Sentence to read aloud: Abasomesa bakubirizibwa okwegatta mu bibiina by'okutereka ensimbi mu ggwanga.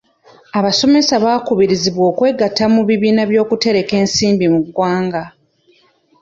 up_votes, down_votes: 0, 2